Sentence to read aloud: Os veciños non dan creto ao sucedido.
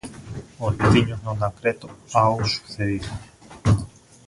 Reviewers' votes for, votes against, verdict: 2, 0, accepted